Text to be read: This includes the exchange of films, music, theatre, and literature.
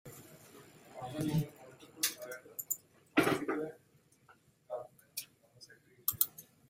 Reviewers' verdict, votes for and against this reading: rejected, 0, 2